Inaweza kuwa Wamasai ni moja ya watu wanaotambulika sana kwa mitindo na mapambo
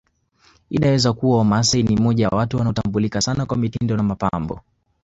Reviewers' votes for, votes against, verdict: 2, 1, accepted